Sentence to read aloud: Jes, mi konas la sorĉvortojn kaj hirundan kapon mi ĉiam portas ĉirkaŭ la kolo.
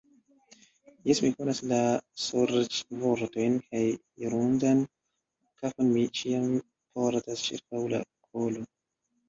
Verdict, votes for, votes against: rejected, 0, 2